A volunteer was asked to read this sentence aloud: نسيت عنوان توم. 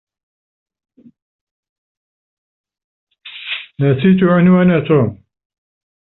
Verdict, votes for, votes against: rejected, 1, 2